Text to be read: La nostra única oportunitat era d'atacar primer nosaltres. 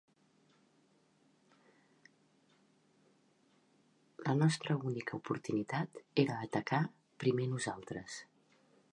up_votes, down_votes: 0, 2